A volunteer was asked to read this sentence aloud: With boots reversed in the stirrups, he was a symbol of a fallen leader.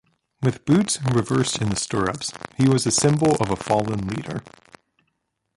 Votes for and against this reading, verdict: 1, 2, rejected